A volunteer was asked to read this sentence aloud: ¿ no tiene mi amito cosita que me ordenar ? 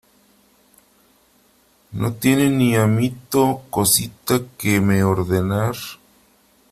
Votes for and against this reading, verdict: 0, 2, rejected